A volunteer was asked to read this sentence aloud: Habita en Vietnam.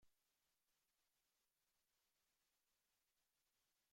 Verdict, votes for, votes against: rejected, 0, 2